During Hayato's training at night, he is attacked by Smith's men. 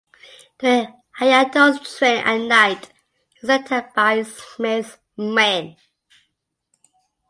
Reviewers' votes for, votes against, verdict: 1, 2, rejected